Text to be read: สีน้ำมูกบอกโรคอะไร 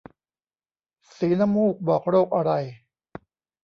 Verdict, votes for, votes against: accepted, 3, 0